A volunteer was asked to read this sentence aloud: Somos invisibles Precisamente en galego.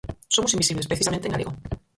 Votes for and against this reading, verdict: 0, 4, rejected